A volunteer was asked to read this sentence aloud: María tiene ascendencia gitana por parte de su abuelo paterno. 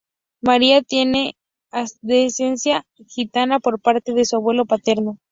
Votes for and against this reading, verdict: 0, 2, rejected